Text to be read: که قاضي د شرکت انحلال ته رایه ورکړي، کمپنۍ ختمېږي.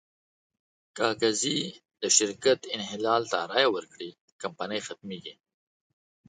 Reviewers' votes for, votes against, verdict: 2, 0, accepted